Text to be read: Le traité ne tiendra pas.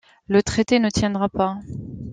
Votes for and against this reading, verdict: 2, 0, accepted